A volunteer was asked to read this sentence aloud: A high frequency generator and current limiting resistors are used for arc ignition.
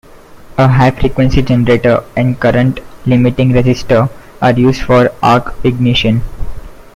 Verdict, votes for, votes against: rejected, 1, 2